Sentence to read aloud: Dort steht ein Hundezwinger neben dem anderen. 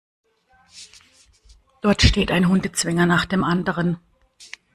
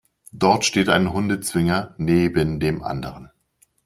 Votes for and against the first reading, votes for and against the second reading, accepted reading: 0, 2, 2, 0, second